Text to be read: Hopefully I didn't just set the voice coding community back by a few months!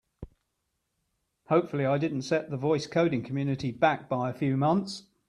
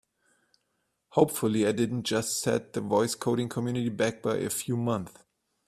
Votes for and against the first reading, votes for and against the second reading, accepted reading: 2, 1, 1, 2, first